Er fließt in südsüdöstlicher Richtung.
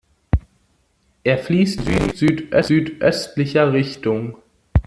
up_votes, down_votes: 0, 2